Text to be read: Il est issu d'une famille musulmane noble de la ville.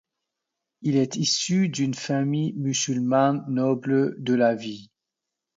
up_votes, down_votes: 2, 1